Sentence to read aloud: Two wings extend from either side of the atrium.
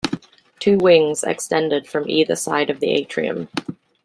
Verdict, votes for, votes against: rejected, 1, 2